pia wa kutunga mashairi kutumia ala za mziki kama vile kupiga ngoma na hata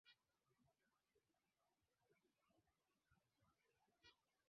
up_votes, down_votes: 0, 2